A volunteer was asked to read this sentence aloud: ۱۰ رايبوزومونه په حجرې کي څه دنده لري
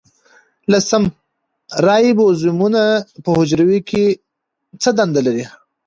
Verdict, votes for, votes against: rejected, 0, 2